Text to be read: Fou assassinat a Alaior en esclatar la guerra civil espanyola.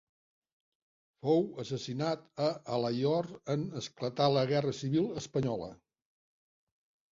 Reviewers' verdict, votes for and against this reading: accepted, 3, 0